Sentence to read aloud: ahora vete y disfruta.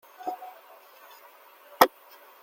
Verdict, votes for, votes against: rejected, 0, 2